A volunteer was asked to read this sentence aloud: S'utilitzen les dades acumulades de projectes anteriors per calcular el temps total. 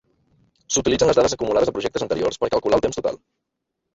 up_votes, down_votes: 1, 3